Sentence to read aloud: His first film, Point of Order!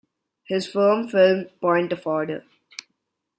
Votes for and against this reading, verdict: 0, 2, rejected